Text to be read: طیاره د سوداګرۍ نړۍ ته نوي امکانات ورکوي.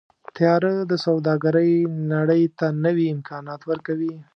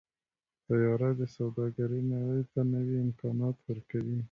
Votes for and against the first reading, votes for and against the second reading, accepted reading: 0, 2, 2, 1, second